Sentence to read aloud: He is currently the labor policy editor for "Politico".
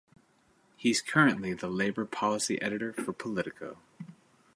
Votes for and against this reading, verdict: 1, 2, rejected